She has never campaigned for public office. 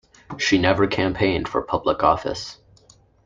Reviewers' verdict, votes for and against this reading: rejected, 1, 2